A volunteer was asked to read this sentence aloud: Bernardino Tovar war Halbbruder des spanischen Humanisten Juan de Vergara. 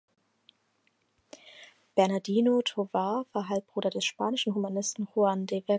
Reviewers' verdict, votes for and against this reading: rejected, 0, 4